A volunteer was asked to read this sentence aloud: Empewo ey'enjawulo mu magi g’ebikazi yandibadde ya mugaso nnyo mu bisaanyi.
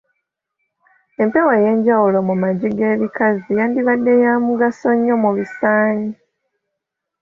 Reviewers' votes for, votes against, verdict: 3, 0, accepted